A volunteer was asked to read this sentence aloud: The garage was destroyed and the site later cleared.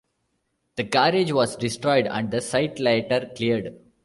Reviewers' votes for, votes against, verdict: 2, 1, accepted